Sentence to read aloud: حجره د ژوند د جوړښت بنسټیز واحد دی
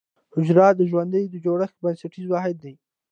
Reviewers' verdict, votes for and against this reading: accepted, 2, 1